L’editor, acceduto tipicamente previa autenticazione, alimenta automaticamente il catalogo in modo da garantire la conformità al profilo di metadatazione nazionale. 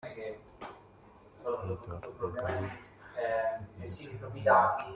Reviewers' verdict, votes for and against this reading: rejected, 0, 2